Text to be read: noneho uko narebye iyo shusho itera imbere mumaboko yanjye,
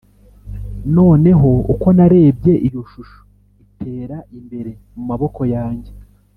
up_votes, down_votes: 2, 0